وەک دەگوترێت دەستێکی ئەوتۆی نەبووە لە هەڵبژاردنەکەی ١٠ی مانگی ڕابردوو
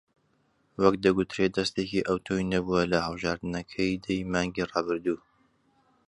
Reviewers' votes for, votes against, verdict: 0, 2, rejected